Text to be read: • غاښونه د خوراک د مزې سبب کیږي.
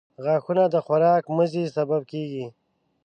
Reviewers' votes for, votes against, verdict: 1, 2, rejected